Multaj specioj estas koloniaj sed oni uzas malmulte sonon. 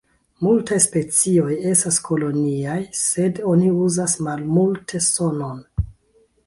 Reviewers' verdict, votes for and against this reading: rejected, 1, 2